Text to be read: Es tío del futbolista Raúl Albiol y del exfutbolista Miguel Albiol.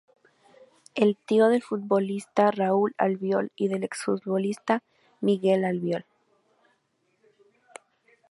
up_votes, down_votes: 0, 2